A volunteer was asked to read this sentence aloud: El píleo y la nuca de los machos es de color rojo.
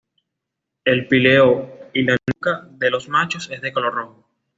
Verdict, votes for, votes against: accepted, 3, 0